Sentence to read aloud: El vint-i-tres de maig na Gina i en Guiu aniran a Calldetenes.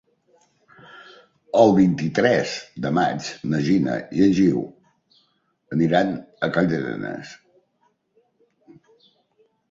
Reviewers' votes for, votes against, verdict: 1, 2, rejected